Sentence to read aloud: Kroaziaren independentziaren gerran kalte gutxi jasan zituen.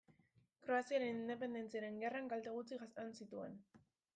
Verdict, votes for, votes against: accepted, 2, 1